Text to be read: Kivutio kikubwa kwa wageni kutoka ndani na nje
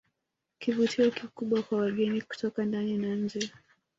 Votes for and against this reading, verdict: 2, 0, accepted